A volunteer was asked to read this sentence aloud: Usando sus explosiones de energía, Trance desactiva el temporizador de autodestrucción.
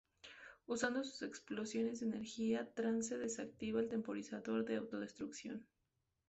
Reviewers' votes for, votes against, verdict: 2, 0, accepted